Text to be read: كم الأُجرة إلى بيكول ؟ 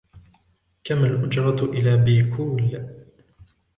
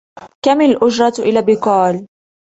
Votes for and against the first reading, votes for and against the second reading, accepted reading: 1, 2, 2, 0, second